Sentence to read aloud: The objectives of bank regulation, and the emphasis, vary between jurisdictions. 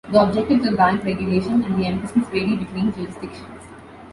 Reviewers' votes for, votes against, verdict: 0, 2, rejected